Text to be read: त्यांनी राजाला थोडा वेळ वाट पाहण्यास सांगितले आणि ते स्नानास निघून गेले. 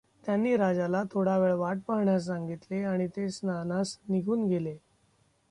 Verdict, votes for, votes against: accepted, 2, 0